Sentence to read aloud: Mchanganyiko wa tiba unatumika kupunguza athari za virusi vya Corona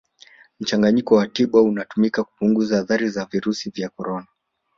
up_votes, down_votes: 2, 0